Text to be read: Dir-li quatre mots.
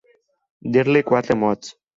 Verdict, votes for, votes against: accepted, 4, 0